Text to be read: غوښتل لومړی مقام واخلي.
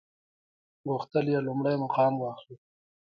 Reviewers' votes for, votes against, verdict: 2, 1, accepted